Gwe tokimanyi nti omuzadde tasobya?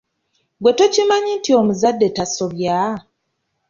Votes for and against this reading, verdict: 2, 0, accepted